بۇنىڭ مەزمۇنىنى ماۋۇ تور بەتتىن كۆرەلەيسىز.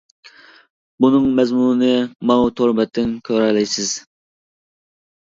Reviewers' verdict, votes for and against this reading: rejected, 1, 2